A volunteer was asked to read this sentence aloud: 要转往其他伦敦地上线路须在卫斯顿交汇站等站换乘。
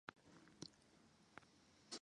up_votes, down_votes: 1, 3